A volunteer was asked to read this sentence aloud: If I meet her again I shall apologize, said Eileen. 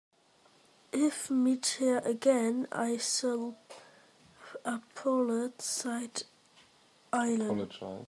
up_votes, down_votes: 0, 2